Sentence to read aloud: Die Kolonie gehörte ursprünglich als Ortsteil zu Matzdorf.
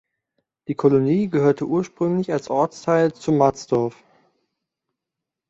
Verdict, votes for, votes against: accepted, 2, 0